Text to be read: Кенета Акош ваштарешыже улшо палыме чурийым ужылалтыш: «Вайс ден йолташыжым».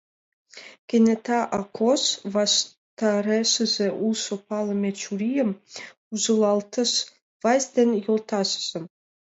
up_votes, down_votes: 2, 1